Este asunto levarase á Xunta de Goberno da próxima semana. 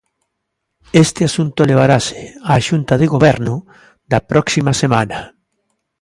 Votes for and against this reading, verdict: 2, 0, accepted